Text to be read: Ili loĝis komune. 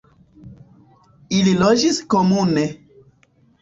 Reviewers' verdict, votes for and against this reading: accepted, 2, 1